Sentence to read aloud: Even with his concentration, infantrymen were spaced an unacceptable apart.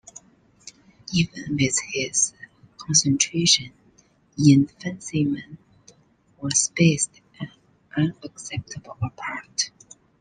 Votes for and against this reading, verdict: 2, 1, accepted